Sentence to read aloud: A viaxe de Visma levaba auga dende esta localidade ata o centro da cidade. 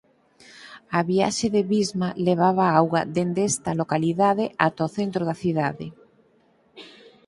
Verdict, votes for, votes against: accepted, 6, 0